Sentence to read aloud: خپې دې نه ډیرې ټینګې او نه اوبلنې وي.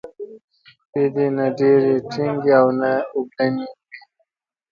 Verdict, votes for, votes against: rejected, 1, 2